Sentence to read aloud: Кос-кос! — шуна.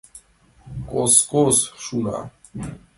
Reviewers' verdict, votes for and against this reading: accepted, 2, 0